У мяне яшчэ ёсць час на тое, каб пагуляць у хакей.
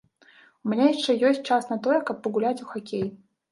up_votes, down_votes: 1, 2